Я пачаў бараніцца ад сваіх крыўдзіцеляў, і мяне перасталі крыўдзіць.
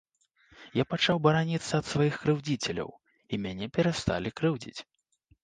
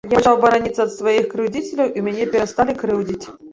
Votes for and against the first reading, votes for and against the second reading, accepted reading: 2, 0, 0, 2, first